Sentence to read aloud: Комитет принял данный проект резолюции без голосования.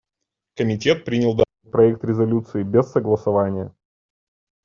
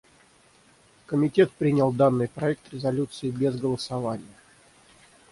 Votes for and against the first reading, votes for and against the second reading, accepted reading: 0, 2, 6, 0, second